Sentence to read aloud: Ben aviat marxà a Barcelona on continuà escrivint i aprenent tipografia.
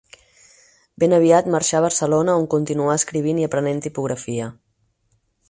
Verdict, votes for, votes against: accepted, 6, 0